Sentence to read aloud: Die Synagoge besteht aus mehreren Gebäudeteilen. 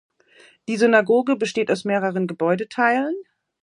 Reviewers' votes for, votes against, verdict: 2, 0, accepted